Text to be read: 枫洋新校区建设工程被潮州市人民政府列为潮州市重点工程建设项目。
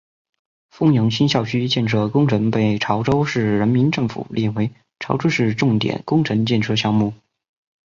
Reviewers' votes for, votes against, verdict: 3, 1, accepted